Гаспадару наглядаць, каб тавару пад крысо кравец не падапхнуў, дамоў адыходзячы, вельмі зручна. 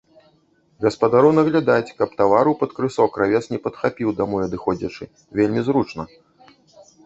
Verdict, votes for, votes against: rejected, 1, 2